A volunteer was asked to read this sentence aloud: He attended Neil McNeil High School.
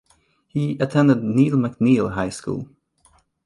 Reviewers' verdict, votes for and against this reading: accepted, 2, 0